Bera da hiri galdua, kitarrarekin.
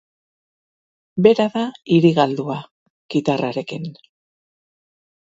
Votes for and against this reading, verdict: 2, 0, accepted